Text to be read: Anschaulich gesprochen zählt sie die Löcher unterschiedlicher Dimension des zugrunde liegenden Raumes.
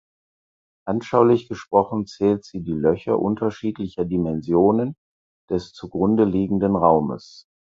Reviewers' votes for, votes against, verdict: 2, 4, rejected